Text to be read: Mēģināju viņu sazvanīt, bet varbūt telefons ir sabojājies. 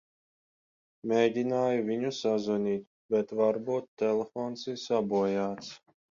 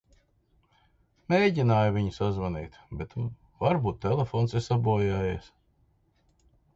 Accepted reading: second